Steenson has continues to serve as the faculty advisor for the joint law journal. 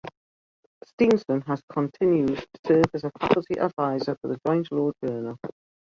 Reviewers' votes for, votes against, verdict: 0, 2, rejected